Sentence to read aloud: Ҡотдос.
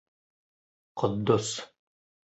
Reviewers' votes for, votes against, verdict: 2, 0, accepted